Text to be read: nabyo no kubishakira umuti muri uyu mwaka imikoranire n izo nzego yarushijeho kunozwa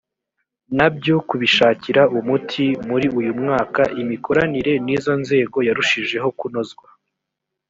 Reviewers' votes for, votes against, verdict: 1, 2, rejected